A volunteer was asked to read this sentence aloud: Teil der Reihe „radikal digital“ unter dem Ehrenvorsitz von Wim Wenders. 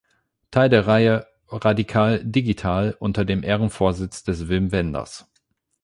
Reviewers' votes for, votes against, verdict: 0, 8, rejected